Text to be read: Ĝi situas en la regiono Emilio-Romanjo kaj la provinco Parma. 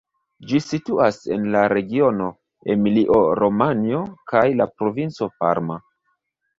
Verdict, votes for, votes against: accepted, 2, 1